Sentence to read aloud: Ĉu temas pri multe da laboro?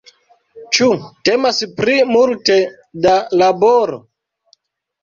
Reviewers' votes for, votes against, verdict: 2, 0, accepted